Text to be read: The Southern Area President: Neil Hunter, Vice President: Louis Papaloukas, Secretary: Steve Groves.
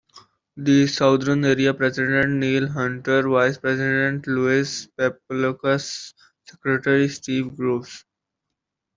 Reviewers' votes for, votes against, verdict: 0, 2, rejected